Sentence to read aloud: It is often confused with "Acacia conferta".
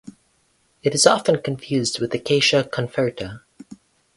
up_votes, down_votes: 2, 4